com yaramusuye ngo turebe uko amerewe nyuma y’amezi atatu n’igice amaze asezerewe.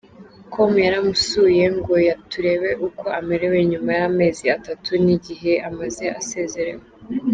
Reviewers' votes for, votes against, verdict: 0, 2, rejected